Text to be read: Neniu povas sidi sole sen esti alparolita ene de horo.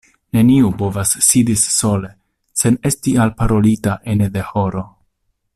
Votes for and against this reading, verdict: 1, 2, rejected